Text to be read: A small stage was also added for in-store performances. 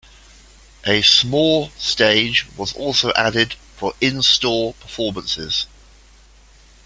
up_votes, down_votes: 2, 1